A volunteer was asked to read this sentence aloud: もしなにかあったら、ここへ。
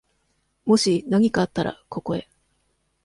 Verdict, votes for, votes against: accepted, 2, 0